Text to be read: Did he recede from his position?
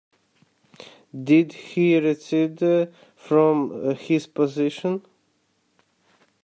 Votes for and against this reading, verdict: 1, 2, rejected